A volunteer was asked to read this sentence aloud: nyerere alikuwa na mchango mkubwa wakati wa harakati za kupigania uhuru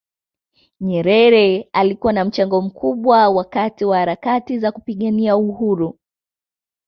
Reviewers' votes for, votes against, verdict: 2, 1, accepted